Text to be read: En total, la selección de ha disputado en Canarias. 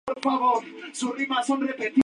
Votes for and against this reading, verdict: 0, 2, rejected